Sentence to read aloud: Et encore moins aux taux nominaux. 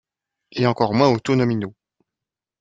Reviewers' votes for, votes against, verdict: 1, 2, rejected